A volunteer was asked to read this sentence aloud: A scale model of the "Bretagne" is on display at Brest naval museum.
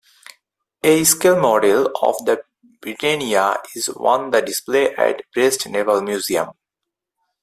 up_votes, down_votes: 2, 4